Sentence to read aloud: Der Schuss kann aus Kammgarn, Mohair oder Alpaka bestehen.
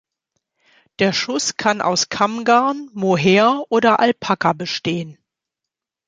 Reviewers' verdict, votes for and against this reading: accepted, 2, 0